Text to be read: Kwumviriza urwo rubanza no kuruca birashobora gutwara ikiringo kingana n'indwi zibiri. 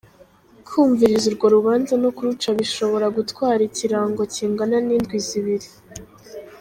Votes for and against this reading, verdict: 0, 2, rejected